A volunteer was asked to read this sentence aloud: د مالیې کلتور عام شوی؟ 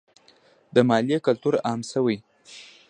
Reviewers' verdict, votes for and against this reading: accepted, 2, 0